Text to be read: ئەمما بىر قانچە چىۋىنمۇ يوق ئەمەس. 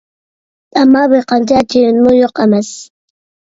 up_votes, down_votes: 2, 1